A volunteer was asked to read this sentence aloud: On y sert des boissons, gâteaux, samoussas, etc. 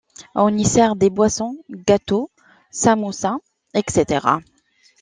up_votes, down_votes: 2, 0